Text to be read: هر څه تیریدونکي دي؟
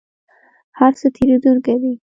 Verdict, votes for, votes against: accepted, 2, 1